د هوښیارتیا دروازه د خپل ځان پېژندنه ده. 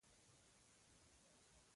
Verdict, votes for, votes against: rejected, 0, 2